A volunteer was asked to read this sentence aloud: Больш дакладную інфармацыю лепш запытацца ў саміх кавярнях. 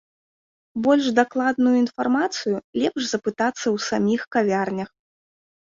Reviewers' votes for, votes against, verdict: 2, 0, accepted